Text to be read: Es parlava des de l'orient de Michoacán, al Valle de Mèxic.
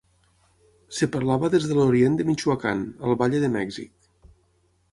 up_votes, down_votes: 3, 6